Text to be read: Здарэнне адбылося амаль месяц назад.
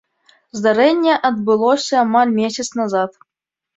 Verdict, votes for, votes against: accepted, 2, 0